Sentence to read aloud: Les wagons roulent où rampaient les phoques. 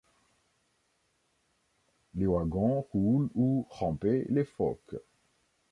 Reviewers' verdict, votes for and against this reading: rejected, 0, 2